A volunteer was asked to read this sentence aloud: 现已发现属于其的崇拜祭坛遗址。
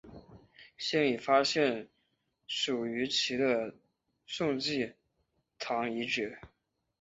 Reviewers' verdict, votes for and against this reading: rejected, 2, 5